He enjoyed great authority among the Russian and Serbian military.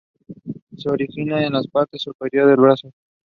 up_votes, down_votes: 0, 2